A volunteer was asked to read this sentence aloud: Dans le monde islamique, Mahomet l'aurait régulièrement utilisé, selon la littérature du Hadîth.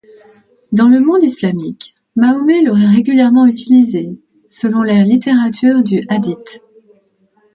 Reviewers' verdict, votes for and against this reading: accepted, 2, 0